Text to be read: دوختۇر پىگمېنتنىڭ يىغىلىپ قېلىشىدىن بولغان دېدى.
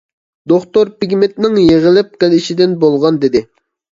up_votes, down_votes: 2, 0